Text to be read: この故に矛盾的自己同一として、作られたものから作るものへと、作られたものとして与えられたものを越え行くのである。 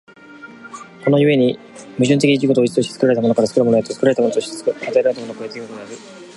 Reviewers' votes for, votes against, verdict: 1, 2, rejected